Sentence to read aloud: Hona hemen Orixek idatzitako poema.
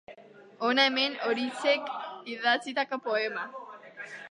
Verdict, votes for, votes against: accepted, 2, 1